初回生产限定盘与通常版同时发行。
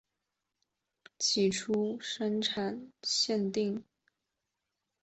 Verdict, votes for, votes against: rejected, 0, 3